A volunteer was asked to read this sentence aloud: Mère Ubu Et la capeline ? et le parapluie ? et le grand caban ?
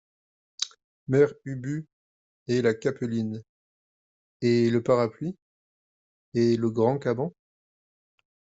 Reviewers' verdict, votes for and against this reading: accepted, 2, 1